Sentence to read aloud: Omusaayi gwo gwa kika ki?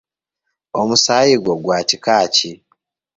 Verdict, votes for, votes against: accepted, 2, 1